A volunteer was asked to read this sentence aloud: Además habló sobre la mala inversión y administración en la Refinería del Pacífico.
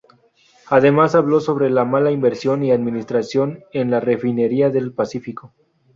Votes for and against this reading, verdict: 4, 0, accepted